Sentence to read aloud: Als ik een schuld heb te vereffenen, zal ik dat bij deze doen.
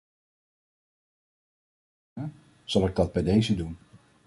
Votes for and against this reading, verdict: 0, 2, rejected